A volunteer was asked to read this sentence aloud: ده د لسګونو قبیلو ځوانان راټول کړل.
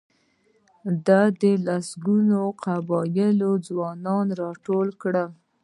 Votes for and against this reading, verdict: 1, 2, rejected